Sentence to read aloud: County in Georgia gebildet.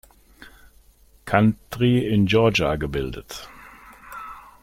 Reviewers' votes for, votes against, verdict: 0, 2, rejected